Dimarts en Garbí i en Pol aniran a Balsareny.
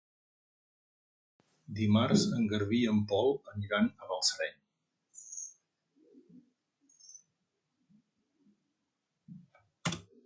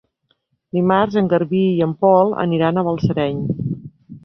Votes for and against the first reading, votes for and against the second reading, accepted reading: 1, 2, 2, 0, second